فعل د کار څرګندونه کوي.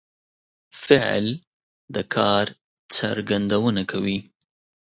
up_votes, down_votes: 2, 0